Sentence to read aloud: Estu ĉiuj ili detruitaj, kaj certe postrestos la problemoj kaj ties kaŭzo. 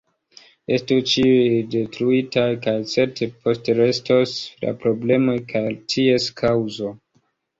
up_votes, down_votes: 1, 3